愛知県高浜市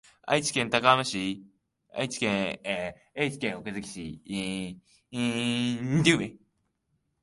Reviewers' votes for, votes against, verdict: 1, 2, rejected